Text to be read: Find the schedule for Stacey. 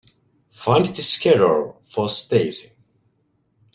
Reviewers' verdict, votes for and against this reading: rejected, 0, 2